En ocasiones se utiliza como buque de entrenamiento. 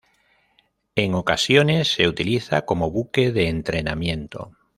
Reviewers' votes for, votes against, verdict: 2, 0, accepted